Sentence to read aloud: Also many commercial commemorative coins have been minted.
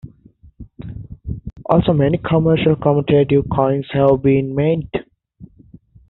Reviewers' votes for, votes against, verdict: 2, 3, rejected